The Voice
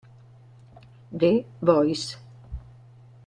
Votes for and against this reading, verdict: 2, 0, accepted